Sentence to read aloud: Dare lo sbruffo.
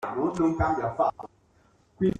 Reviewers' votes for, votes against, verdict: 0, 2, rejected